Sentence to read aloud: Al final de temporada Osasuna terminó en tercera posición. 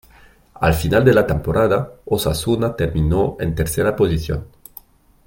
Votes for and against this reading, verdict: 0, 2, rejected